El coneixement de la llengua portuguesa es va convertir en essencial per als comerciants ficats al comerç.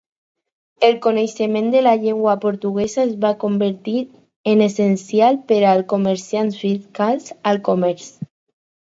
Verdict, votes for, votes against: accepted, 4, 0